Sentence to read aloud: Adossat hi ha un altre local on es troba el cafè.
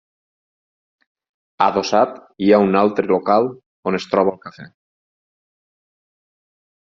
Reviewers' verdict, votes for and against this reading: rejected, 2, 4